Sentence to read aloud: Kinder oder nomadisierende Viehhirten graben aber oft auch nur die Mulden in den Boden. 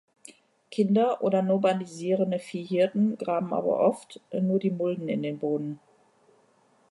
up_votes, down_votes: 1, 2